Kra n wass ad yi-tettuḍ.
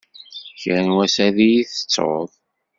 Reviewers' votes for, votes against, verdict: 2, 0, accepted